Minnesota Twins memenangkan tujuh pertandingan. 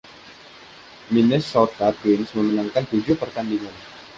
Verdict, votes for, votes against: accepted, 2, 0